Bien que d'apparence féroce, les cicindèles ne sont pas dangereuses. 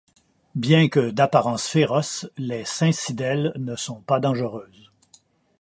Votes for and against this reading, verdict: 1, 2, rejected